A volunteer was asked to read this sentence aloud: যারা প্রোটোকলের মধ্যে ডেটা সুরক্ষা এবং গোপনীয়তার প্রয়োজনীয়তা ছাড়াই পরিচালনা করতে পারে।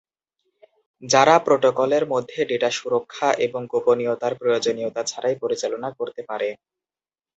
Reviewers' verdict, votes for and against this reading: accepted, 2, 0